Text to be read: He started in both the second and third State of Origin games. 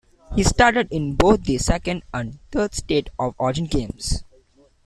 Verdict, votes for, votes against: accepted, 2, 0